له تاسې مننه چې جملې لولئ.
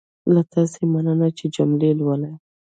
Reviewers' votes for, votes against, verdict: 2, 1, accepted